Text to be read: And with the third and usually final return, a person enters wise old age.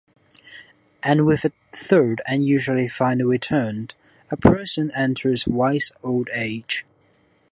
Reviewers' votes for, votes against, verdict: 1, 3, rejected